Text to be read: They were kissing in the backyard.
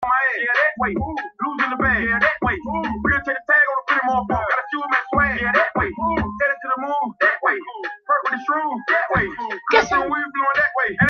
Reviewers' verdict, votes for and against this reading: rejected, 0, 2